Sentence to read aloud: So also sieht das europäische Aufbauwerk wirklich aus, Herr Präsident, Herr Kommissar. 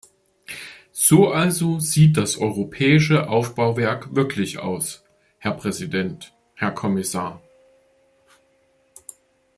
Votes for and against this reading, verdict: 2, 0, accepted